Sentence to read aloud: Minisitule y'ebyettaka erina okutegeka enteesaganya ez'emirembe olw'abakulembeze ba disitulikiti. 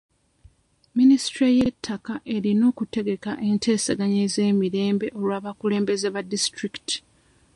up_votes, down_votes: 0, 2